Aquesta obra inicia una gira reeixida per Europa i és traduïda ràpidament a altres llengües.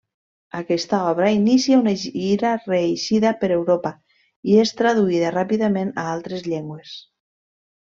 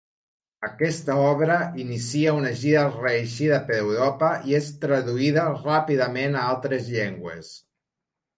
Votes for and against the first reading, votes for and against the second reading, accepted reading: 1, 2, 2, 0, second